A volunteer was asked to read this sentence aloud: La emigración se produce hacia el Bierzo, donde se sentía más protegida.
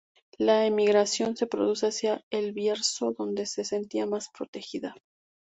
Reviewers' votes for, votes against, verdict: 2, 0, accepted